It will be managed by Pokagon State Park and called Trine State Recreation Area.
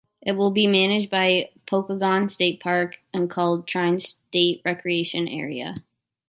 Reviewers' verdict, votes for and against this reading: accepted, 2, 0